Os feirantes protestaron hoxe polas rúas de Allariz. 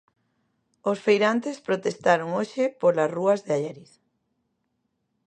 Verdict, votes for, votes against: accepted, 2, 0